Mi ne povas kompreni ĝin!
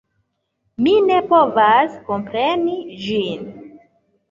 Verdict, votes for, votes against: accepted, 2, 1